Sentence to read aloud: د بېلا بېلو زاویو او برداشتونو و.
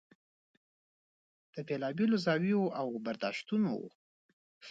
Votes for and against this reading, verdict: 2, 0, accepted